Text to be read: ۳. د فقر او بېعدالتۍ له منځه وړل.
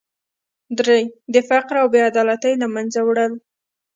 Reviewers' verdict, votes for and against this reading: rejected, 0, 2